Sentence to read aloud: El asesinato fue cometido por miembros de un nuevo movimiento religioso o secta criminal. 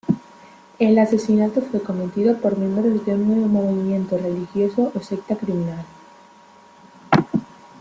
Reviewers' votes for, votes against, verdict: 2, 0, accepted